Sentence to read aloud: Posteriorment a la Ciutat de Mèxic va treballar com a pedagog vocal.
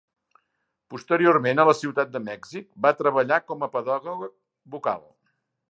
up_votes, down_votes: 0, 2